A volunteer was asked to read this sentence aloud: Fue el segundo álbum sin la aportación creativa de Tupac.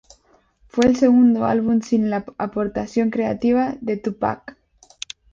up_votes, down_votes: 0, 2